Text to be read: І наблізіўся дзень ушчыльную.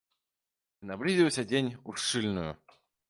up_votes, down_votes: 1, 2